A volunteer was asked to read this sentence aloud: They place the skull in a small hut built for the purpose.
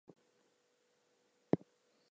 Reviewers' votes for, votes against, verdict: 0, 4, rejected